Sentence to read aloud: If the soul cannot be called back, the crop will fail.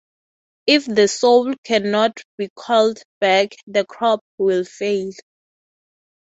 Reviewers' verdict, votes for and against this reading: accepted, 3, 0